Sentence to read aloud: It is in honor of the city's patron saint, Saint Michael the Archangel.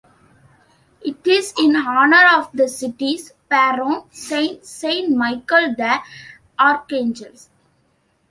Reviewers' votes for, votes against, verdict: 0, 2, rejected